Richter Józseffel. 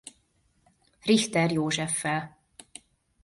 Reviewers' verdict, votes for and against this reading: accepted, 2, 0